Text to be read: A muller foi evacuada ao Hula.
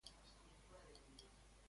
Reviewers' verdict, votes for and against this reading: rejected, 0, 2